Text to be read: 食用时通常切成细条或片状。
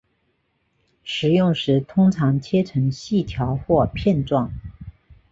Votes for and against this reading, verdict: 4, 1, accepted